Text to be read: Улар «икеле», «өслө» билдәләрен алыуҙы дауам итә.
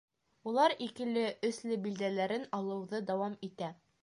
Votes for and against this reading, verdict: 2, 0, accepted